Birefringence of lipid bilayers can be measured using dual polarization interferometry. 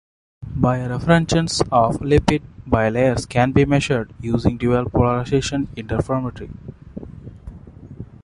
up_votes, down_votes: 1, 2